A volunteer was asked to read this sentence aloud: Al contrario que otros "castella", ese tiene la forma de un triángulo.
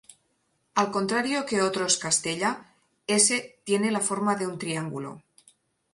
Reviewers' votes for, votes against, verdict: 4, 0, accepted